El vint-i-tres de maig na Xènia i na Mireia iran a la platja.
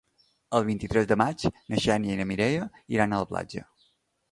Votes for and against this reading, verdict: 2, 0, accepted